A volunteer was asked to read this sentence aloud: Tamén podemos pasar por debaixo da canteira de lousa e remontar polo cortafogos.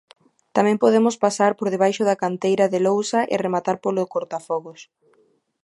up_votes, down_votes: 0, 3